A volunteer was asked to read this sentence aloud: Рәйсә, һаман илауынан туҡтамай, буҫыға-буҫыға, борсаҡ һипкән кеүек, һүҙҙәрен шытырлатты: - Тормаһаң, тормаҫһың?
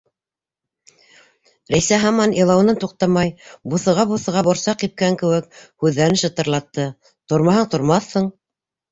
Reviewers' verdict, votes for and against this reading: accepted, 2, 0